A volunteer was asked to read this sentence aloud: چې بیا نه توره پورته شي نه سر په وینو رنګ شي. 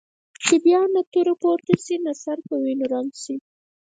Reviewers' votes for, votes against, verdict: 2, 4, rejected